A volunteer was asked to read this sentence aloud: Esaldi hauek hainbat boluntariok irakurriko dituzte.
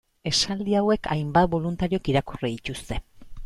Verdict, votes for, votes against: rejected, 1, 2